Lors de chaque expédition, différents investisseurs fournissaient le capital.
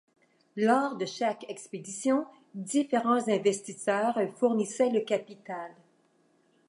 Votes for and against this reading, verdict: 2, 0, accepted